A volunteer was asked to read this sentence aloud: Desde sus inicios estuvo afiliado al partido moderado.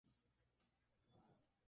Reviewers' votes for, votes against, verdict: 0, 2, rejected